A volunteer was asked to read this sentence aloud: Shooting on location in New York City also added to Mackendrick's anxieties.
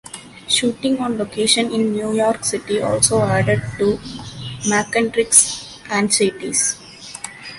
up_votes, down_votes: 2, 1